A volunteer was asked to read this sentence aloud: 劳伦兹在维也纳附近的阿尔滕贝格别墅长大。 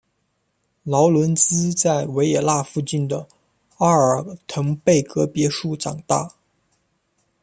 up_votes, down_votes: 2, 0